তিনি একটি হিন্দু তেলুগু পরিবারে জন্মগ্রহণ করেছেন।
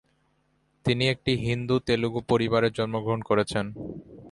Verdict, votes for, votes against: accepted, 2, 0